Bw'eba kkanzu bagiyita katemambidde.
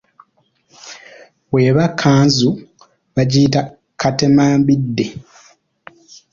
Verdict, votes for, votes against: accepted, 2, 0